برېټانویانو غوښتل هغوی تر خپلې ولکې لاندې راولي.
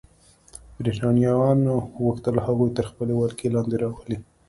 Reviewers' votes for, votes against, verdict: 2, 0, accepted